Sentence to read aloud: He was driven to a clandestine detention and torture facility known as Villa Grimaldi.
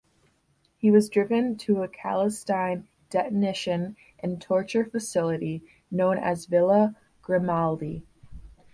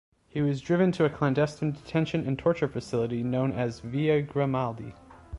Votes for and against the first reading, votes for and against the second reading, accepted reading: 1, 2, 2, 0, second